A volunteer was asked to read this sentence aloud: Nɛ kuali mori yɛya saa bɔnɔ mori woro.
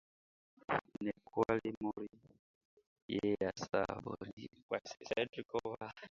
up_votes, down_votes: 0, 2